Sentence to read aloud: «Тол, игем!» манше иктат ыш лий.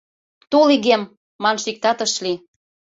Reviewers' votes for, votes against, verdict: 2, 0, accepted